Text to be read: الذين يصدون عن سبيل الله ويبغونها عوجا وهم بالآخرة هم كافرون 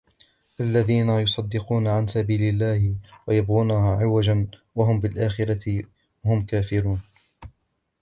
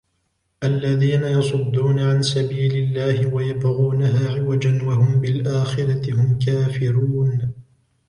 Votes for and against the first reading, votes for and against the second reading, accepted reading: 0, 2, 2, 1, second